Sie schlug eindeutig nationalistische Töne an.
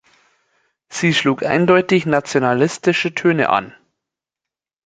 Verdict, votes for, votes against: accepted, 2, 0